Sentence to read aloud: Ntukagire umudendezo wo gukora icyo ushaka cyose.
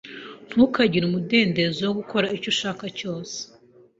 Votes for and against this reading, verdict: 2, 0, accepted